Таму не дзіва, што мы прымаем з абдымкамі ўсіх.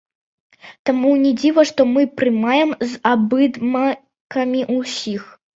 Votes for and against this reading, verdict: 0, 2, rejected